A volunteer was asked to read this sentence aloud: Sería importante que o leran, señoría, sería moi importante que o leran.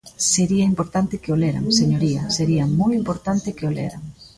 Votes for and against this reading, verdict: 0, 2, rejected